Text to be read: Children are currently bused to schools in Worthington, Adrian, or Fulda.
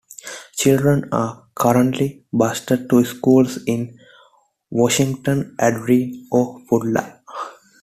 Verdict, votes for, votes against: rejected, 0, 2